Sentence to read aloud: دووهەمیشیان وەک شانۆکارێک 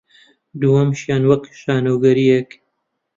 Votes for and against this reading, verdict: 1, 2, rejected